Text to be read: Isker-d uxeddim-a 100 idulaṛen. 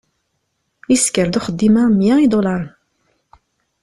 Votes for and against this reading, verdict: 0, 2, rejected